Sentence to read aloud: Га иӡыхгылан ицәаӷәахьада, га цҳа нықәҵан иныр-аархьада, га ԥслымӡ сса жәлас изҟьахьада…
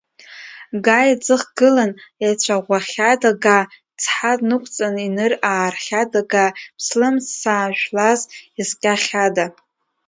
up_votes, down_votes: 0, 2